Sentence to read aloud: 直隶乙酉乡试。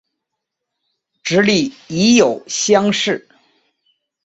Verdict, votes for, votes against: accepted, 3, 0